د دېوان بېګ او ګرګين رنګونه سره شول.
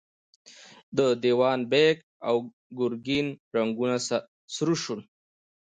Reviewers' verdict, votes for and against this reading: accepted, 2, 0